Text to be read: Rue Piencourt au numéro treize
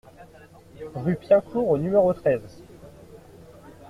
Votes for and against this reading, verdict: 2, 0, accepted